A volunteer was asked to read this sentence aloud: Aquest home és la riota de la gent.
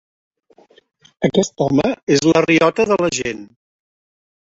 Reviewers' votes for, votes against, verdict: 1, 2, rejected